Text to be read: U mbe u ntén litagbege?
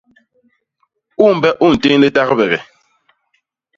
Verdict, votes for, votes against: accepted, 2, 0